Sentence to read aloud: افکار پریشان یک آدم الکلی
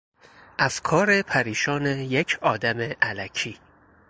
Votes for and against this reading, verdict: 0, 2, rejected